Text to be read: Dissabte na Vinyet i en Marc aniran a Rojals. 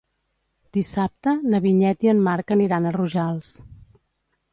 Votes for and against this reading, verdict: 2, 0, accepted